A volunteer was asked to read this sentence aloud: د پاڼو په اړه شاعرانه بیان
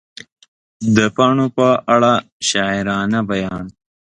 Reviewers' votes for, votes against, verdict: 2, 1, accepted